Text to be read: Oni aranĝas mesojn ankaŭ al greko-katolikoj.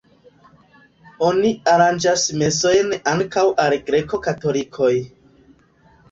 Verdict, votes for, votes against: accepted, 2, 1